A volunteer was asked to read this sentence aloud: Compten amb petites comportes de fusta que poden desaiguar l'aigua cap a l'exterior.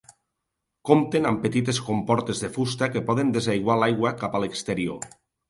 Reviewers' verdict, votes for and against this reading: accepted, 2, 0